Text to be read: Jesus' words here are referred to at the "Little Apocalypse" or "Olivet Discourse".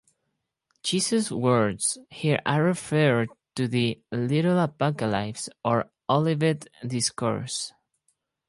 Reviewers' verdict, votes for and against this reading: rejected, 0, 4